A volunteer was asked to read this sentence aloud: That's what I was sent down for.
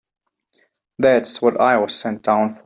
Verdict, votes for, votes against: rejected, 1, 2